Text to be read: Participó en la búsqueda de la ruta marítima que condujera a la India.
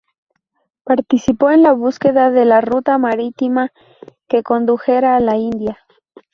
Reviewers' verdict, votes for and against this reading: accepted, 2, 0